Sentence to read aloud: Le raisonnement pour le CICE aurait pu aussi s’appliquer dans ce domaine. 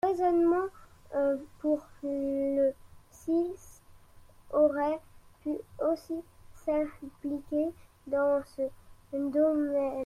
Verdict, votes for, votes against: rejected, 1, 2